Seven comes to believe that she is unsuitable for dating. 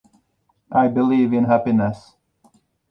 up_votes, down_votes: 0, 2